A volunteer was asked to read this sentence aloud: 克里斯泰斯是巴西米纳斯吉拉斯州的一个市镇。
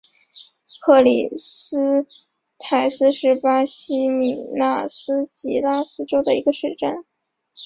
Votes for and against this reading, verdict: 2, 0, accepted